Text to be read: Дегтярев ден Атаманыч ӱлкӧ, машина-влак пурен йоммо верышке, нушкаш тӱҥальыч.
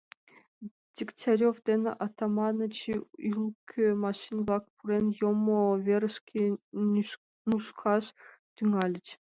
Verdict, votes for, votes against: rejected, 0, 2